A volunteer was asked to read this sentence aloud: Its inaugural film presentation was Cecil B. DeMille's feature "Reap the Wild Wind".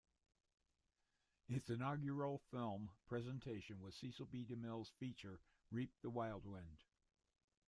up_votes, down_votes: 1, 2